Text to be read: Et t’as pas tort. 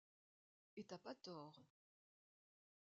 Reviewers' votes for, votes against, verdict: 0, 2, rejected